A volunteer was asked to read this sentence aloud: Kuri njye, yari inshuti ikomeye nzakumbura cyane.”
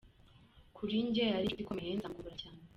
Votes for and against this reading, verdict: 1, 2, rejected